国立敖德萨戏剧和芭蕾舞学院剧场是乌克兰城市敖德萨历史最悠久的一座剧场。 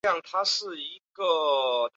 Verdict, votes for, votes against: rejected, 1, 2